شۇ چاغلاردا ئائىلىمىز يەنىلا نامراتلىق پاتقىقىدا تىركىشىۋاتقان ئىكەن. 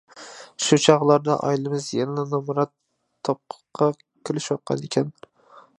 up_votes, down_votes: 0, 2